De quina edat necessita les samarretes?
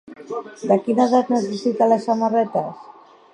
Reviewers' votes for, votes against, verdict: 1, 2, rejected